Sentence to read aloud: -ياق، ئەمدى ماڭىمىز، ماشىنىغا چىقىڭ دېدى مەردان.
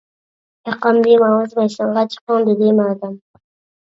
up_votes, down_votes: 0, 2